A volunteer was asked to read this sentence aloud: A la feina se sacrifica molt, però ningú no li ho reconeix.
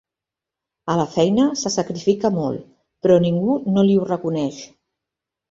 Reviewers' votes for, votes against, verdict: 4, 0, accepted